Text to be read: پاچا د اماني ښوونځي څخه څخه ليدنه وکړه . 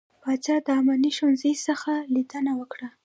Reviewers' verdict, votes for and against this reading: rejected, 1, 2